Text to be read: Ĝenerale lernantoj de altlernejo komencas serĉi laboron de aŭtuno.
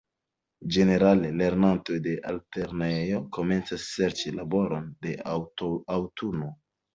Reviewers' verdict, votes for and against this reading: accepted, 2, 0